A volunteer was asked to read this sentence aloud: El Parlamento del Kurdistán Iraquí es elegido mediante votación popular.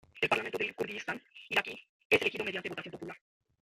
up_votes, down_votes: 0, 3